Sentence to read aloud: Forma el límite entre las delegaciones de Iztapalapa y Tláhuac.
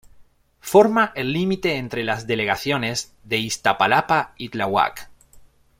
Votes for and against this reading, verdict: 2, 0, accepted